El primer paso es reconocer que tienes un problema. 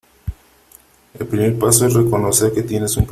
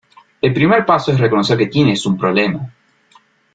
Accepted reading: second